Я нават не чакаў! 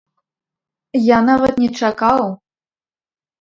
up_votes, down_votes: 3, 0